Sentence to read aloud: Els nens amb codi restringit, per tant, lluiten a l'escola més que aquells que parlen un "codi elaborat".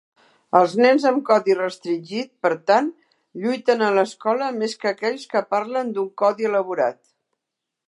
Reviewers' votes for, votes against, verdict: 0, 2, rejected